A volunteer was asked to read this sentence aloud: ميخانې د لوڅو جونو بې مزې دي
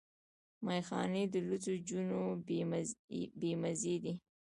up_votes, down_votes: 1, 2